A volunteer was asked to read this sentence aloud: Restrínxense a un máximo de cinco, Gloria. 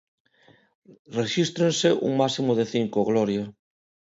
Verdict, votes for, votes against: rejected, 0, 2